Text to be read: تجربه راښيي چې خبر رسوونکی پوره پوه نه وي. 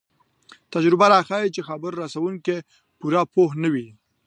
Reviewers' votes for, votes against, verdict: 2, 0, accepted